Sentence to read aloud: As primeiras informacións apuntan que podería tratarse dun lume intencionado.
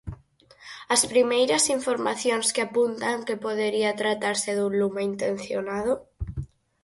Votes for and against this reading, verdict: 0, 4, rejected